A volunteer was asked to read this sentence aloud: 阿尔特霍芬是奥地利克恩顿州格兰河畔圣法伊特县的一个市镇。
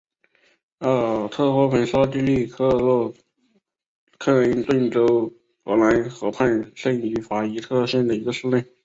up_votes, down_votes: 3, 0